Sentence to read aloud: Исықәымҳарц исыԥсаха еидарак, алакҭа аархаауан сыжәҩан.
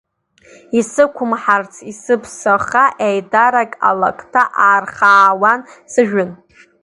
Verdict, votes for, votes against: rejected, 1, 2